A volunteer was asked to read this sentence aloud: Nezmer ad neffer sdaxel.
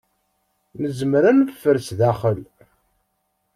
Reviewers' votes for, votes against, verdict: 2, 0, accepted